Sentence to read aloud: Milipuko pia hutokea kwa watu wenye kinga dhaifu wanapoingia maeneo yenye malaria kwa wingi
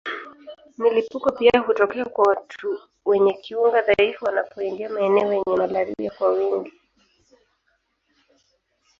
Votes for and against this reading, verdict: 1, 2, rejected